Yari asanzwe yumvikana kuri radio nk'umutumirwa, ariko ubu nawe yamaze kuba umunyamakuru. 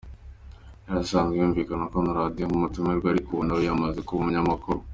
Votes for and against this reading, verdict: 2, 1, accepted